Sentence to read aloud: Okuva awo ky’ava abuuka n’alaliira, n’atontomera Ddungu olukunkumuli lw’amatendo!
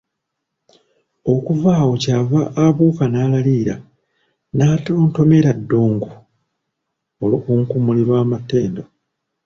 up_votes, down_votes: 0, 2